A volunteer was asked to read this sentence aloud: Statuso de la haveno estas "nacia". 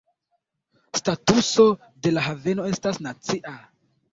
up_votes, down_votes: 1, 2